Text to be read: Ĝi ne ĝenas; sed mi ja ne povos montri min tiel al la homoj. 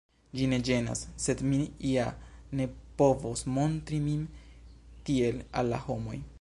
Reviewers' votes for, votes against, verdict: 1, 2, rejected